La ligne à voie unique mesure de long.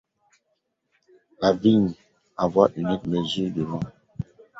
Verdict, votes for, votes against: rejected, 0, 2